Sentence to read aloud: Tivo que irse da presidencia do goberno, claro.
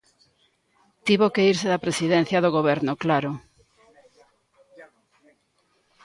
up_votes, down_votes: 1, 2